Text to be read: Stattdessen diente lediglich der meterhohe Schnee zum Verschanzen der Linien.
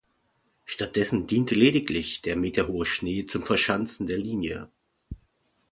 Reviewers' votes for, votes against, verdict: 0, 2, rejected